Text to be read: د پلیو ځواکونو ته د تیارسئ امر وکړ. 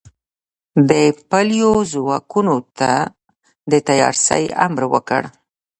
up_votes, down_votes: 1, 2